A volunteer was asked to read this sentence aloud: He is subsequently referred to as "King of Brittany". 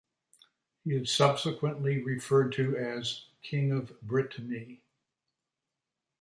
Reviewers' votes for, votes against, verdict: 2, 1, accepted